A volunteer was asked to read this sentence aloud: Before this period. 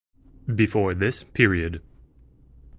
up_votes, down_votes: 2, 0